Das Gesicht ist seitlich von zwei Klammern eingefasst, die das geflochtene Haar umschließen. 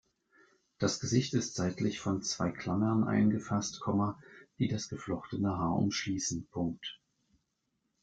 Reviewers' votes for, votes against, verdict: 2, 1, accepted